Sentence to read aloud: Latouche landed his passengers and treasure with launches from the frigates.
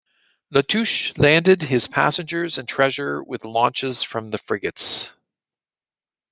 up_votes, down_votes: 2, 0